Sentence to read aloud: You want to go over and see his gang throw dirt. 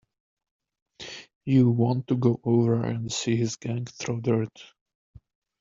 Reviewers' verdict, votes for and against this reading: accepted, 2, 1